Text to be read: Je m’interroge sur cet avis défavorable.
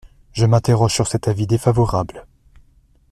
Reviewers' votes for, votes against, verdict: 2, 0, accepted